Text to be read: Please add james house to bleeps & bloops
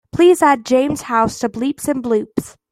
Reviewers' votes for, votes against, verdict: 2, 0, accepted